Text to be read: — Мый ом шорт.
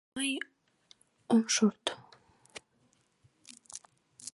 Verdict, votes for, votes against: accepted, 2, 0